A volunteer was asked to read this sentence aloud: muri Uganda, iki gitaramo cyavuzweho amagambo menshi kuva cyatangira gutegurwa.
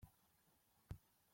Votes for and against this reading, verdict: 0, 2, rejected